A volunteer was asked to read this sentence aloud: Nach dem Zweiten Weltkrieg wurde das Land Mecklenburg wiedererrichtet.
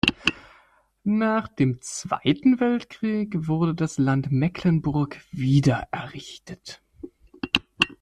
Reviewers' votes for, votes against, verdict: 2, 0, accepted